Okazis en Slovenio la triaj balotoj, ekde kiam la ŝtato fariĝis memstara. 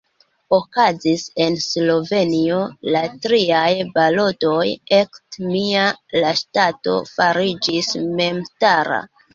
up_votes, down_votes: 0, 2